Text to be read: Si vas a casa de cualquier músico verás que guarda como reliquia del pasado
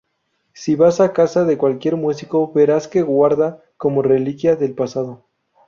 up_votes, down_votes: 2, 0